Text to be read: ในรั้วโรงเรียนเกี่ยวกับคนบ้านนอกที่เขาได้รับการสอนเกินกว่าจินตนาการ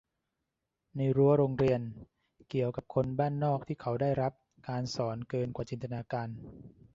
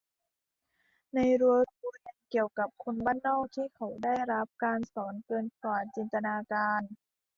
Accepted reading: first